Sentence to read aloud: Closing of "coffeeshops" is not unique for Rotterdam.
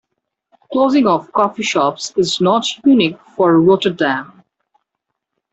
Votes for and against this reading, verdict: 2, 0, accepted